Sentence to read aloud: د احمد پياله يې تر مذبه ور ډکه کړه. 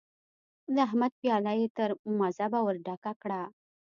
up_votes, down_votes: 2, 0